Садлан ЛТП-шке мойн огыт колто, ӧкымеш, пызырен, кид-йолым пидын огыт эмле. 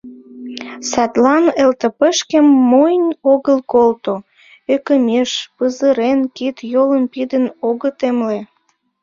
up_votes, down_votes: 0, 2